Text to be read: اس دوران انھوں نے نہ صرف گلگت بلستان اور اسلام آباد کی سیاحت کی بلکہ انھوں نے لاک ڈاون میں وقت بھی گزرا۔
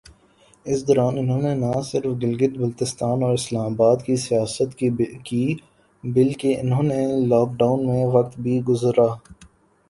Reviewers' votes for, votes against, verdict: 0, 2, rejected